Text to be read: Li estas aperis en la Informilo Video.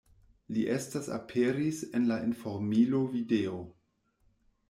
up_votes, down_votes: 2, 0